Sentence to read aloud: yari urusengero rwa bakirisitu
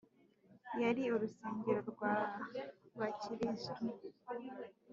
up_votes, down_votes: 2, 0